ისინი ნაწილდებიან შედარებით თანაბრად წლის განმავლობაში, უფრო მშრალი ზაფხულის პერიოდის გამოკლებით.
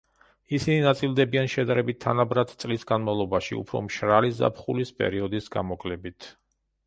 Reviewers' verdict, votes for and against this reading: accepted, 2, 0